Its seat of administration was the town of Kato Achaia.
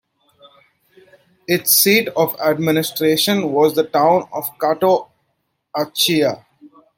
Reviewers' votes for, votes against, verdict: 2, 0, accepted